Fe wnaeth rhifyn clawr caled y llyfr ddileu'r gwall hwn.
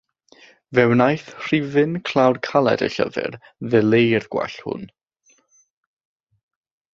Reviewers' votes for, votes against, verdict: 6, 0, accepted